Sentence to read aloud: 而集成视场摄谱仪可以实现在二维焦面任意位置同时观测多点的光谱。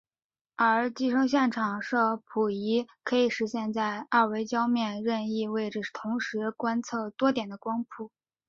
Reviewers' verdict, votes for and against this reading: accepted, 2, 1